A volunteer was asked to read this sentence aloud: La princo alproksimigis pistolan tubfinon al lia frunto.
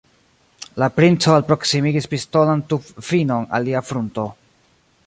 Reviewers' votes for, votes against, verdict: 1, 2, rejected